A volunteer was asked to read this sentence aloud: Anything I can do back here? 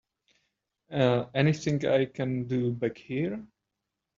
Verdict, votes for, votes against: accepted, 2, 0